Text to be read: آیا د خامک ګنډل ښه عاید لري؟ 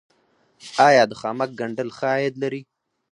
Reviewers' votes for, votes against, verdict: 2, 4, rejected